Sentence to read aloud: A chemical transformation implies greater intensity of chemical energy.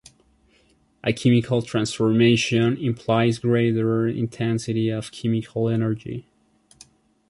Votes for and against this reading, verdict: 0, 2, rejected